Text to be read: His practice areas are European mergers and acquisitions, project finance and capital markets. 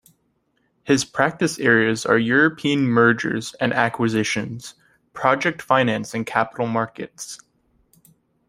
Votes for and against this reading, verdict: 2, 0, accepted